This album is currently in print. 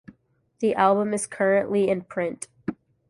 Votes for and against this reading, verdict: 1, 2, rejected